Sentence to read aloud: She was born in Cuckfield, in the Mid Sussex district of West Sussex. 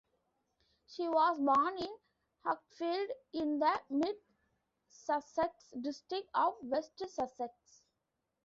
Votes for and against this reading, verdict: 0, 2, rejected